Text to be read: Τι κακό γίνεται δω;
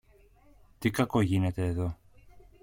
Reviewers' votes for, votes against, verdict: 1, 2, rejected